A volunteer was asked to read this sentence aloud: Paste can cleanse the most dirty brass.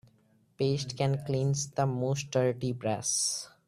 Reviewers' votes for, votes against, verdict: 1, 2, rejected